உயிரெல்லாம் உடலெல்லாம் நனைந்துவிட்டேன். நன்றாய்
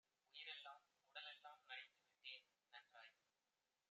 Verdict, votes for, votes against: rejected, 1, 2